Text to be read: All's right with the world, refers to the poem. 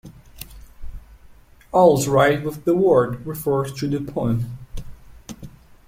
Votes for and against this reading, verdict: 2, 3, rejected